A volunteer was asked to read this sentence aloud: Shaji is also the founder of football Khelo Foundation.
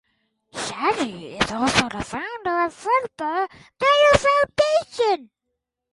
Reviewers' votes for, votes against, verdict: 0, 2, rejected